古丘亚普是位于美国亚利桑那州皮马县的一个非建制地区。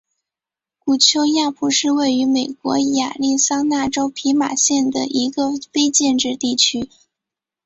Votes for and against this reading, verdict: 6, 0, accepted